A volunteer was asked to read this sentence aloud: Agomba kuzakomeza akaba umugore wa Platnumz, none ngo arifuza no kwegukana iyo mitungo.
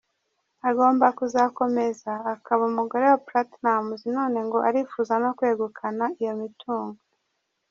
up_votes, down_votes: 1, 2